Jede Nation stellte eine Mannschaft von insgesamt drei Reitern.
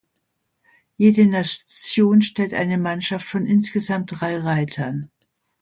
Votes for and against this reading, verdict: 0, 2, rejected